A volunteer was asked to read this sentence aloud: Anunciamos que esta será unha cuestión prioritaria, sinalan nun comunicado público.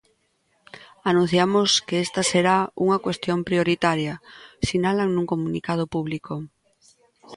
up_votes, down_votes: 2, 0